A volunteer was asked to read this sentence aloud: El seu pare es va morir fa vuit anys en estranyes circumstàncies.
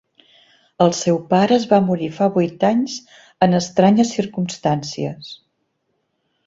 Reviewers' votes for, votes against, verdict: 2, 0, accepted